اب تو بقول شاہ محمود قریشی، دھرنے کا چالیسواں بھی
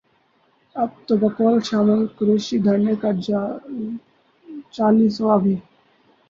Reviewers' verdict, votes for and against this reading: rejected, 0, 2